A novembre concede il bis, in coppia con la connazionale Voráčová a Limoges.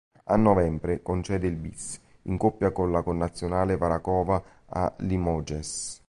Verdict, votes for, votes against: rejected, 0, 2